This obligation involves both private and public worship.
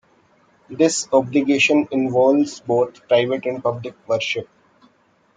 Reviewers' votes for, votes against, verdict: 1, 2, rejected